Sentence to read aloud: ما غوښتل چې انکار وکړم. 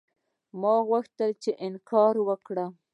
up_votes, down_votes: 2, 0